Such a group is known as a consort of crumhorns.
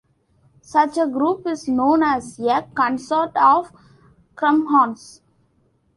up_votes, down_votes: 0, 2